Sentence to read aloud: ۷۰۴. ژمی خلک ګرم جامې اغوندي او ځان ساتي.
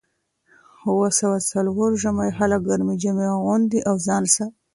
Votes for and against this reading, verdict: 0, 2, rejected